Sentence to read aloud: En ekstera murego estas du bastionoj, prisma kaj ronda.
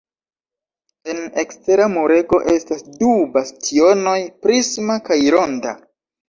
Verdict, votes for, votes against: rejected, 1, 2